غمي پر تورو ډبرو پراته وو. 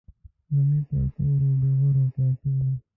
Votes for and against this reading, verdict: 0, 2, rejected